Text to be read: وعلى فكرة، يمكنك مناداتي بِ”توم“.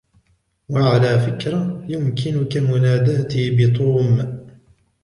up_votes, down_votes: 1, 2